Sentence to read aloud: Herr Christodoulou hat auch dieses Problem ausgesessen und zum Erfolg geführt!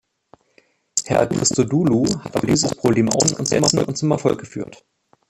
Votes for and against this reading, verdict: 1, 2, rejected